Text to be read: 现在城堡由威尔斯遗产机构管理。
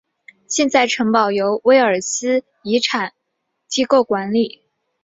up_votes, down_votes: 2, 0